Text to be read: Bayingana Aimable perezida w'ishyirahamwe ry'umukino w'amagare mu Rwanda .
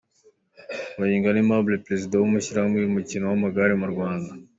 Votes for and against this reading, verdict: 2, 0, accepted